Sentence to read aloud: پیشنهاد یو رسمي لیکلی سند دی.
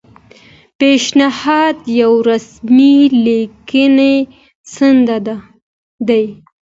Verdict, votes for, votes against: rejected, 1, 2